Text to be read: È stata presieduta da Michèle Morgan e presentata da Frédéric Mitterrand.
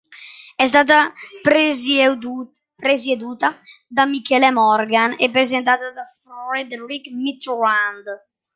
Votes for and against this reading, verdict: 0, 2, rejected